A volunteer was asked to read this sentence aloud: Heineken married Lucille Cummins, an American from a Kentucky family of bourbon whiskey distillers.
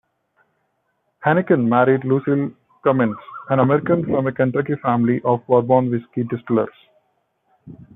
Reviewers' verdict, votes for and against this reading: accepted, 2, 0